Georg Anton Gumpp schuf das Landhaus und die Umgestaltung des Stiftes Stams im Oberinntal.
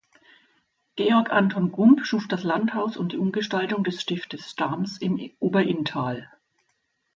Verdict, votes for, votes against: rejected, 1, 4